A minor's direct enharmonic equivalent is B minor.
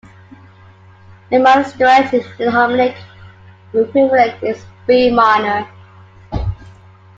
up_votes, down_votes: 0, 2